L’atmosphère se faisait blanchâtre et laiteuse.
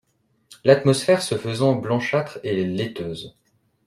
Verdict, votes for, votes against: rejected, 0, 2